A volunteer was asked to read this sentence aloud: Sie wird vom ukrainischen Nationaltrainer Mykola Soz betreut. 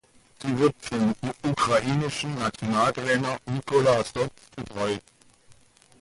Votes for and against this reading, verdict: 1, 2, rejected